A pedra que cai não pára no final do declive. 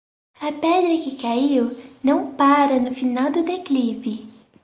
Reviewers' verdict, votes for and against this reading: rejected, 2, 4